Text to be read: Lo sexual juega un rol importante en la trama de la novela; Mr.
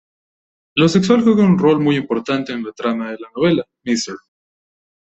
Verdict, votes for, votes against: rejected, 0, 2